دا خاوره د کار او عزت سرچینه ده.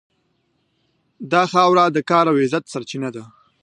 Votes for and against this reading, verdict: 2, 0, accepted